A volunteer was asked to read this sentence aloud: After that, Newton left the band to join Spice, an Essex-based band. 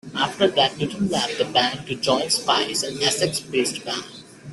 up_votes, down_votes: 1, 2